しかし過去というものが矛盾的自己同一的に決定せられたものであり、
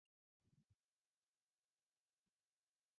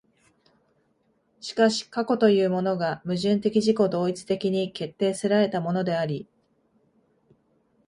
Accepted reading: second